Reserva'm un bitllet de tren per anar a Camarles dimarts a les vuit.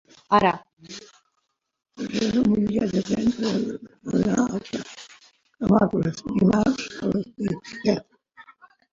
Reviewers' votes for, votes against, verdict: 0, 2, rejected